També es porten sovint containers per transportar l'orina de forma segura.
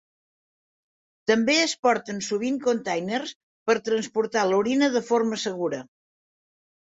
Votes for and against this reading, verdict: 2, 0, accepted